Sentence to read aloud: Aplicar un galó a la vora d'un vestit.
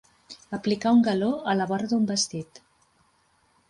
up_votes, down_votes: 5, 0